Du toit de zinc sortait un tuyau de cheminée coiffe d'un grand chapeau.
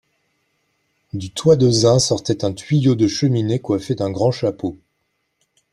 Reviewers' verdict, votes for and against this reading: rejected, 0, 2